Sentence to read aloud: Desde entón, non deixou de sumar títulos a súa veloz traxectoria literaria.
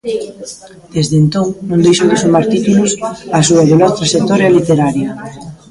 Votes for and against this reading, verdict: 0, 2, rejected